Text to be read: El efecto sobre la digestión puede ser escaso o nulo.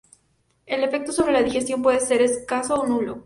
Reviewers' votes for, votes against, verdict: 4, 0, accepted